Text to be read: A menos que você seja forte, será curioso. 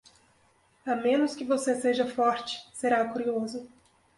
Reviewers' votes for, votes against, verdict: 2, 0, accepted